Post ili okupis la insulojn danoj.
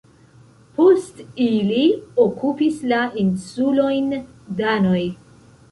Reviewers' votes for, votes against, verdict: 1, 2, rejected